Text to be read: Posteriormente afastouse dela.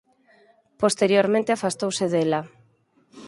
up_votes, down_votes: 4, 0